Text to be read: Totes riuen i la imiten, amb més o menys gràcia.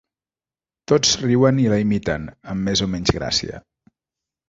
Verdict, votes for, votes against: rejected, 1, 2